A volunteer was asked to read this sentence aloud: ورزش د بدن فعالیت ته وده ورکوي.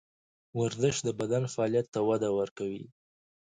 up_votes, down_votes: 0, 2